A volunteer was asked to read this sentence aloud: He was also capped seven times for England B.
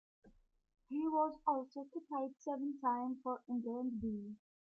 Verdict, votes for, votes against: rejected, 1, 2